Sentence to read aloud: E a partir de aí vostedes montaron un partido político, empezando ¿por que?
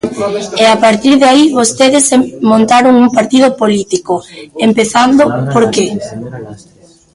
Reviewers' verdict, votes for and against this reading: rejected, 0, 2